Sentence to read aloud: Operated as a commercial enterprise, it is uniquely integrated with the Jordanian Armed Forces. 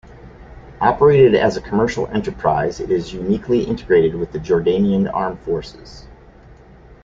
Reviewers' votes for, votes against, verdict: 2, 0, accepted